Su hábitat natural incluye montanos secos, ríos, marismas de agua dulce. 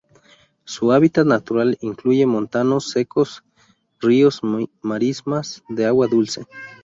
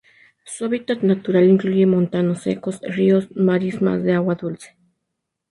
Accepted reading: second